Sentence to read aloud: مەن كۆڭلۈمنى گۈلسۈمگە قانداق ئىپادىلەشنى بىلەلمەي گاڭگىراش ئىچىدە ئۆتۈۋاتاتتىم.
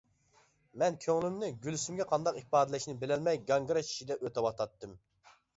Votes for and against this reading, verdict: 2, 0, accepted